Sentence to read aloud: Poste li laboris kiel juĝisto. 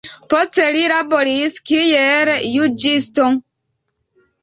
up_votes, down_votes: 5, 4